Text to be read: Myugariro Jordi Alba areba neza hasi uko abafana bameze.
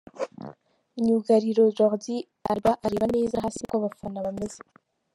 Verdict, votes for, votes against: rejected, 1, 2